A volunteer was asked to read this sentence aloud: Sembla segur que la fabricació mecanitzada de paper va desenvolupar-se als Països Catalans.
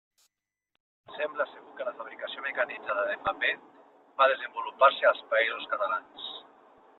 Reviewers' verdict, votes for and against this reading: rejected, 1, 2